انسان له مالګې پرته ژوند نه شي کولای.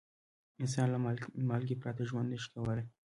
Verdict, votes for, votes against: rejected, 1, 2